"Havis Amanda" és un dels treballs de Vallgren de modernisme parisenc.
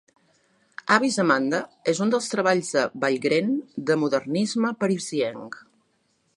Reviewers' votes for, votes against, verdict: 1, 2, rejected